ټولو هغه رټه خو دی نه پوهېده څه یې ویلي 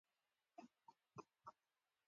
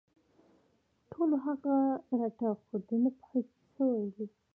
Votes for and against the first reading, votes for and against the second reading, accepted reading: 0, 3, 2, 0, second